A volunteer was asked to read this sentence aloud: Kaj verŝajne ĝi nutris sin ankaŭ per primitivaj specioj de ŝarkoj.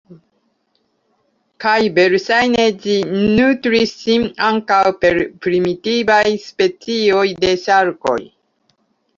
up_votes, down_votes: 1, 2